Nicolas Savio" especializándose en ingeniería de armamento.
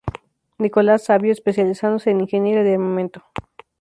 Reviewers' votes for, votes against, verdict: 0, 2, rejected